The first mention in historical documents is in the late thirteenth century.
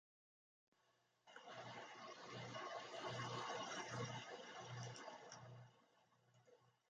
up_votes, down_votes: 0, 2